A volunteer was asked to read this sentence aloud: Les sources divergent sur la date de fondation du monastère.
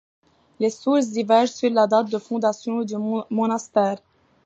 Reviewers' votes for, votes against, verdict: 2, 1, accepted